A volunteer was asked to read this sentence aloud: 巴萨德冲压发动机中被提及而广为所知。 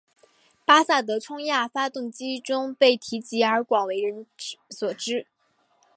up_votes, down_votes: 2, 0